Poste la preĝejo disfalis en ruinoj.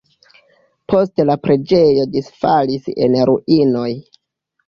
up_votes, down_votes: 1, 2